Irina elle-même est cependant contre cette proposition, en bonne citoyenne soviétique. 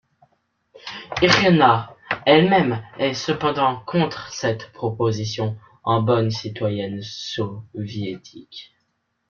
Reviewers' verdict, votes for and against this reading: rejected, 0, 2